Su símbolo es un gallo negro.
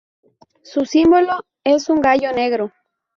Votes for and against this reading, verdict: 0, 2, rejected